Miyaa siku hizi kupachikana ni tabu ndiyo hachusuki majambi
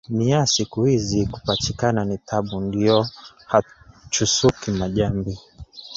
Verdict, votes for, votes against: accepted, 3, 0